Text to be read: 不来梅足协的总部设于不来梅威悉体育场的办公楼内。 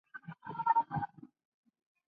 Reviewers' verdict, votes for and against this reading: rejected, 0, 3